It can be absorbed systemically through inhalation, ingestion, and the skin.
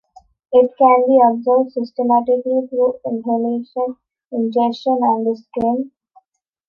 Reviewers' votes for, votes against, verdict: 2, 0, accepted